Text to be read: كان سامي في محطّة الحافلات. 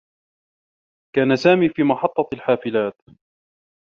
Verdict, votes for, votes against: accepted, 3, 0